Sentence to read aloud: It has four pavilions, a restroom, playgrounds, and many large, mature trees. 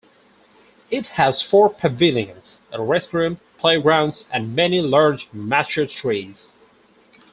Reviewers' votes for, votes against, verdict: 0, 2, rejected